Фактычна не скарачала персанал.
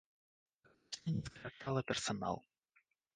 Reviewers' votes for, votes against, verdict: 0, 2, rejected